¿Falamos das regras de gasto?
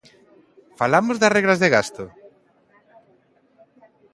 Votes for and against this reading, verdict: 2, 0, accepted